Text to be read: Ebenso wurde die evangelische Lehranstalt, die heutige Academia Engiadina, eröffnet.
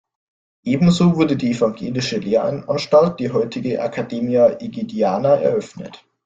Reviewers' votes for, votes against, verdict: 1, 2, rejected